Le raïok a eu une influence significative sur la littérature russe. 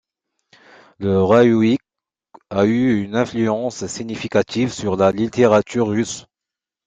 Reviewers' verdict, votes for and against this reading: rejected, 0, 2